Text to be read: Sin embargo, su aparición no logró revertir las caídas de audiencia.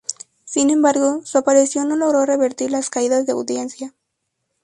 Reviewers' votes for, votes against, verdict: 2, 2, rejected